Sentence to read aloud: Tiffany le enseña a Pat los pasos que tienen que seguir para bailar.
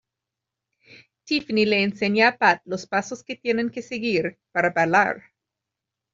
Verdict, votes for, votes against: accepted, 2, 1